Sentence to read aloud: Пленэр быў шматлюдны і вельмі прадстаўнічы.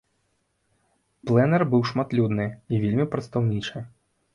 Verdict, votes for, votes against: accepted, 2, 0